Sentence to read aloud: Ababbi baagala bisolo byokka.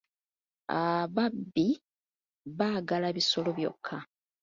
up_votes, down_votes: 2, 0